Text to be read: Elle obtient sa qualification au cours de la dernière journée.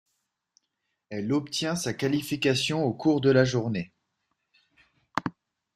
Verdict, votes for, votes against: rejected, 1, 2